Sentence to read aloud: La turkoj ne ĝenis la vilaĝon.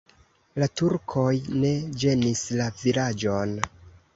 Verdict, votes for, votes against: accepted, 2, 0